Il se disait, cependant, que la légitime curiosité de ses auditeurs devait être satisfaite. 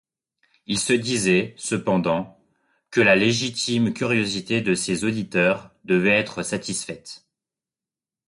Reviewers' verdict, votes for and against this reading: accepted, 2, 0